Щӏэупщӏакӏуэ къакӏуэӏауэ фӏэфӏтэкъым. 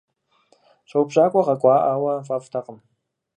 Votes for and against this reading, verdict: 4, 0, accepted